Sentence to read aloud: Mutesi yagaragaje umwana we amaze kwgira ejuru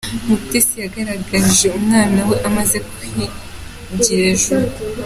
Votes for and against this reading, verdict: 2, 0, accepted